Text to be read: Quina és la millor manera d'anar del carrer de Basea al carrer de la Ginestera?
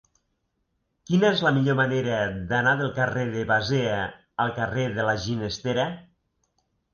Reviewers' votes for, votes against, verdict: 3, 0, accepted